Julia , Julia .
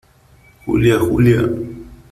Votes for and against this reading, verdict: 3, 0, accepted